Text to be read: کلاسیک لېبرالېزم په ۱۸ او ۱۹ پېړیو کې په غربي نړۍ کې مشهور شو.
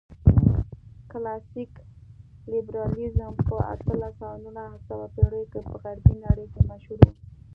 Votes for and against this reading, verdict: 0, 2, rejected